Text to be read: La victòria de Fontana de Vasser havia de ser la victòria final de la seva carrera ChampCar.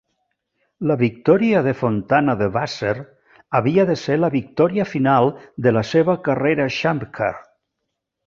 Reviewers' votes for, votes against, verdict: 1, 2, rejected